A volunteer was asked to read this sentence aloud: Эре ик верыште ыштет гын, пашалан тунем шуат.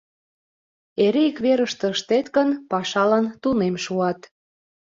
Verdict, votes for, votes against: accepted, 2, 0